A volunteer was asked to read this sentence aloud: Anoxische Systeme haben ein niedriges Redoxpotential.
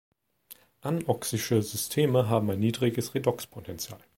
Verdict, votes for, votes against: accepted, 2, 0